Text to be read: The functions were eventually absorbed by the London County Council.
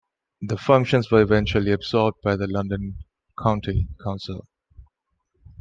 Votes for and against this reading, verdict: 2, 0, accepted